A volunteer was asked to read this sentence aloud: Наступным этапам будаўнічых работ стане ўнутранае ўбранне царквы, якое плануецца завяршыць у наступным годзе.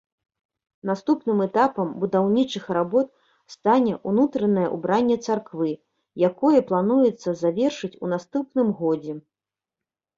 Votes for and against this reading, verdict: 0, 2, rejected